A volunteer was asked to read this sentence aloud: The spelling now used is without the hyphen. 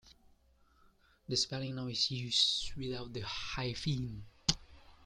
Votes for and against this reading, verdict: 0, 2, rejected